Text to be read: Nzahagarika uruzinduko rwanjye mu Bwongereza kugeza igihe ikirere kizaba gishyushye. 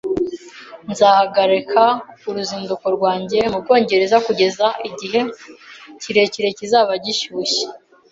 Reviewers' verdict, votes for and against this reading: rejected, 0, 2